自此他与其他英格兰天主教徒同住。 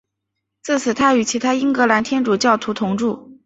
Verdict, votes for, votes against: accepted, 2, 1